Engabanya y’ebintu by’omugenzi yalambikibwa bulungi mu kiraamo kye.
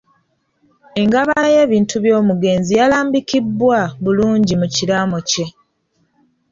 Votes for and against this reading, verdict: 2, 1, accepted